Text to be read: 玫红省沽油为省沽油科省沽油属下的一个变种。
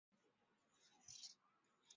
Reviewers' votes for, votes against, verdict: 1, 4, rejected